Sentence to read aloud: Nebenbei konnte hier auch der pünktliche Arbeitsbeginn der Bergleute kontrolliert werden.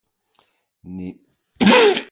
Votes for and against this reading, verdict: 0, 2, rejected